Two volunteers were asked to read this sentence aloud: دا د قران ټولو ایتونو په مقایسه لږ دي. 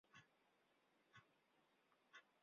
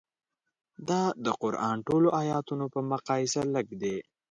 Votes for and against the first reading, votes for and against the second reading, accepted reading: 1, 2, 5, 0, second